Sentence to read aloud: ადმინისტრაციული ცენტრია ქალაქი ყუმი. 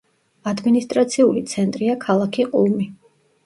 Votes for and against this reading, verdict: 1, 2, rejected